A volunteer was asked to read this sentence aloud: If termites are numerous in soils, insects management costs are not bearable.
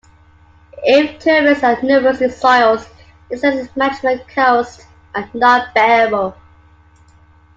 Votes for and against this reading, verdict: 1, 2, rejected